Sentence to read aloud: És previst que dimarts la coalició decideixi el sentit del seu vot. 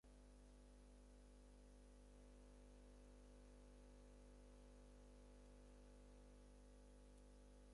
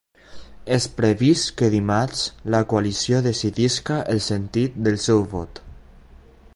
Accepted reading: second